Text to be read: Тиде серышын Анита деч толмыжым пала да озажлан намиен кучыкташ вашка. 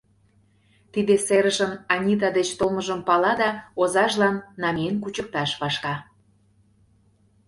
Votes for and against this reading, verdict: 2, 0, accepted